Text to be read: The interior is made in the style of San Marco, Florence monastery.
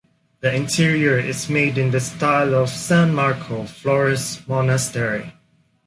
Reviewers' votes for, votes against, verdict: 2, 0, accepted